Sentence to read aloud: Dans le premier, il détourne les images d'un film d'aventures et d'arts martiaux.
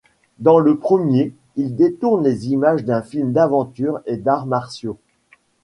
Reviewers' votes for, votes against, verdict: 2, 0, accepted